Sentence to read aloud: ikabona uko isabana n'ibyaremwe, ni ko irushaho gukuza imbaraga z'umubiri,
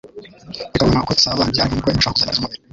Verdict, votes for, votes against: rejected, 1, 2